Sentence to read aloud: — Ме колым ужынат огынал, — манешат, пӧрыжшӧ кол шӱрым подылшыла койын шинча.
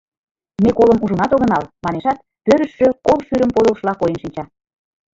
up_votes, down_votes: 0, 2